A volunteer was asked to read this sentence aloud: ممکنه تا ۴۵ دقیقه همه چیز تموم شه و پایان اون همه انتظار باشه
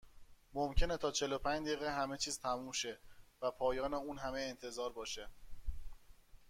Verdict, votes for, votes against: rejected, 0, 2